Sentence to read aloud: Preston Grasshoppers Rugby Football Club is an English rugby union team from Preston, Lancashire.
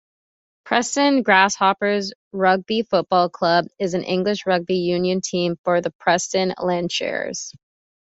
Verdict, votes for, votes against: rejected, 2, 3